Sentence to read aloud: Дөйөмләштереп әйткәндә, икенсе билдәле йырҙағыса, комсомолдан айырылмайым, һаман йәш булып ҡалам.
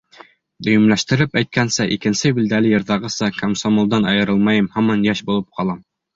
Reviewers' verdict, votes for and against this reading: rejected, 1, 2